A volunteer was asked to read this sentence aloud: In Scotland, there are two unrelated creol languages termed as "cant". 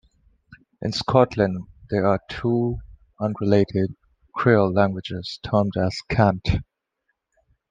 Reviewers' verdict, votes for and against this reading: accepted, 2, 0